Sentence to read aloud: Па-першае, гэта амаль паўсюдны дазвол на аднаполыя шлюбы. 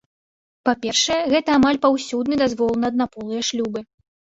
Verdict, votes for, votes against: accepted, 3, 0